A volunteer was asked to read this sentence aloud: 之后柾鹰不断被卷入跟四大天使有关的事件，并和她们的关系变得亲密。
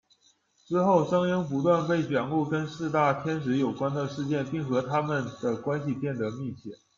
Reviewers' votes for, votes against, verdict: 1, 2, rejected